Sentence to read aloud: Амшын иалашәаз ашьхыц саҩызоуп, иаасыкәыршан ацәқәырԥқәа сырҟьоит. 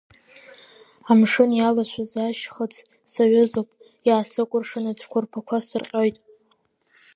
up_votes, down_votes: 2, 0